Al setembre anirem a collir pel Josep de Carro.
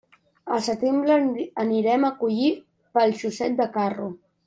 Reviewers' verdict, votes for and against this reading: rejected, 1, 2